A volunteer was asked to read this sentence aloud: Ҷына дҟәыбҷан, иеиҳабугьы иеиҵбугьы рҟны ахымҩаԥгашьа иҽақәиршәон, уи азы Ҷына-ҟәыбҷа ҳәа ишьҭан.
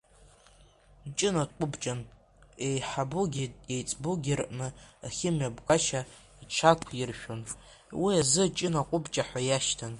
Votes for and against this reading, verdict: 2, 1, accepted